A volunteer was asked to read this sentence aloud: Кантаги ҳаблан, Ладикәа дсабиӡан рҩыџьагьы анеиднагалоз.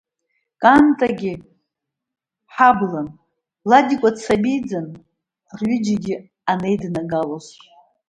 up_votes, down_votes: 1, 2